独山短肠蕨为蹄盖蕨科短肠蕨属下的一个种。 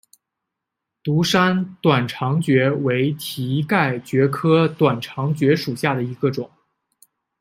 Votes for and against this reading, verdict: 2, 0, accepted